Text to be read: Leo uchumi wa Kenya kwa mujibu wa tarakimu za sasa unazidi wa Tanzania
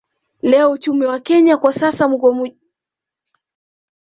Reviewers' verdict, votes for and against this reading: rejected, 1, 2